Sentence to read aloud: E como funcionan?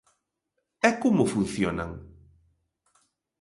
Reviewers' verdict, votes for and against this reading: accepted, 2, 0